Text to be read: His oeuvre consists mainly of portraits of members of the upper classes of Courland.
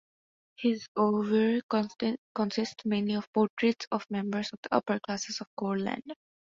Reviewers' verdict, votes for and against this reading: rejected, 0, 2